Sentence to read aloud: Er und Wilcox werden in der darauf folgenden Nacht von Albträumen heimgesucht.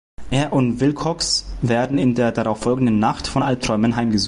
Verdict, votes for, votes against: rejected, 1, 2